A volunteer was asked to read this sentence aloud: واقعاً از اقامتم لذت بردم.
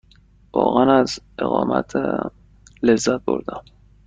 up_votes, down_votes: 1, 2